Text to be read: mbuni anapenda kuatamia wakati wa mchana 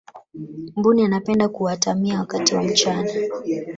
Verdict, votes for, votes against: rejected, 1, 2